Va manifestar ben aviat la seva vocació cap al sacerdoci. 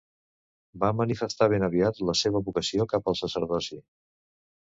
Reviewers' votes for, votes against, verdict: 2, 0, accepted